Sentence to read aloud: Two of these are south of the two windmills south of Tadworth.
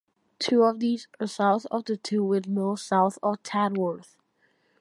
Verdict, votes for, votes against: accepted, 2, 0